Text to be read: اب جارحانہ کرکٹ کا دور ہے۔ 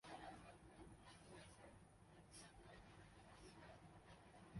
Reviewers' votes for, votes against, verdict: 1, 2, rejected